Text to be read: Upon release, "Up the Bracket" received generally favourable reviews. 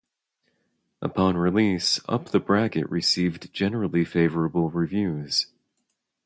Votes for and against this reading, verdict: 0, 2, rejected